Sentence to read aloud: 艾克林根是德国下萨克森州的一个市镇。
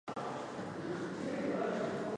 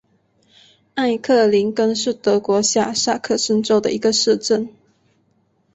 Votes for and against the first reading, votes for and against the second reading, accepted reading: 0, 3, 3, 0, second